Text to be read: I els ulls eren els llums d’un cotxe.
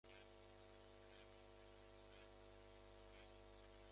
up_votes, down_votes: 2, 3